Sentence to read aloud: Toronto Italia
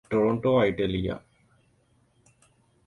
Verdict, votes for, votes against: accepted, 2, 0